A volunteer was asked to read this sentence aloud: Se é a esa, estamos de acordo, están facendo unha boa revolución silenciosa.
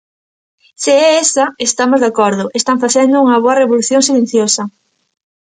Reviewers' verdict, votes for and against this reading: rejected, 1, 2